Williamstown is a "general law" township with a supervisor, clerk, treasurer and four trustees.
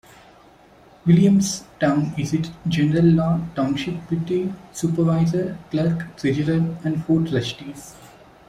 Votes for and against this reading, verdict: 1, 2, rejected